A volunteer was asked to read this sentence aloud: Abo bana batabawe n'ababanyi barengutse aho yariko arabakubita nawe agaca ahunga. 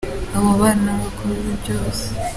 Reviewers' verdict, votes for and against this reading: rejected, 0, 2